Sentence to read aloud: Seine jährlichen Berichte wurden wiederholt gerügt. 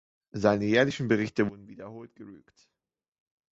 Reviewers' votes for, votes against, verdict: 0, 2, rejected